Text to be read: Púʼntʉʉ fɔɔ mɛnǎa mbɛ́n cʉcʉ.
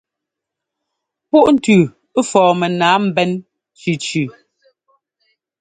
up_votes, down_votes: 2, 0